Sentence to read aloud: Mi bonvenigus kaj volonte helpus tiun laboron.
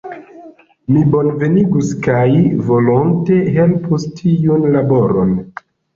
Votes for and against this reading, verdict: 1, 2, rejected